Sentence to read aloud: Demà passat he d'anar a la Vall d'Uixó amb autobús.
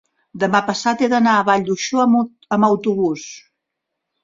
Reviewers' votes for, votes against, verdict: 0, 2, rejected